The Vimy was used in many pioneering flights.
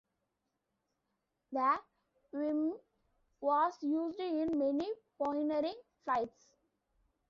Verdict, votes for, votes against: accepted, 2, 1